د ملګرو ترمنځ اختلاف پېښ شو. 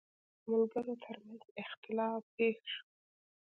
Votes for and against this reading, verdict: 1, 2, rejected